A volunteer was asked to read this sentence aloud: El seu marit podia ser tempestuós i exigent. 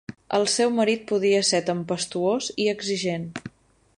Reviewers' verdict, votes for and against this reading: rejected, 0, 10